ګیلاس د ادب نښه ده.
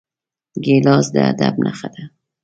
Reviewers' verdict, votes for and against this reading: accepted, 2, 0